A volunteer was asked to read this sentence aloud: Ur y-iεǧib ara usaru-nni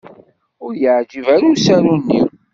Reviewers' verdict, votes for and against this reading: accepted, 2, 0